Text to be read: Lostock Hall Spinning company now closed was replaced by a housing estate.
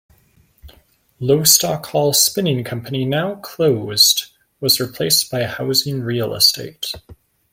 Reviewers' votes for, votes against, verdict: 1, 2, rejected